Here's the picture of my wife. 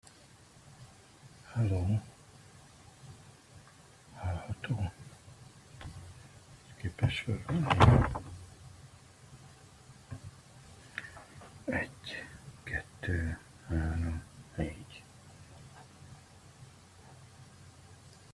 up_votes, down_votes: 0, 2